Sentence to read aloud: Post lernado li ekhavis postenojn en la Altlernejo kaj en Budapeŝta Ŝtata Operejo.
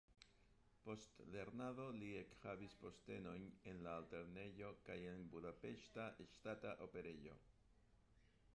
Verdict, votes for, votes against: rejected, 1, 2